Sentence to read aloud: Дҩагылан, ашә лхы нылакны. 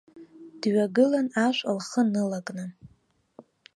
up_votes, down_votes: 2, 0